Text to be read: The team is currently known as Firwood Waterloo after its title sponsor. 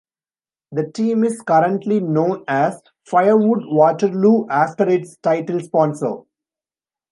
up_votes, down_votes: 1, 2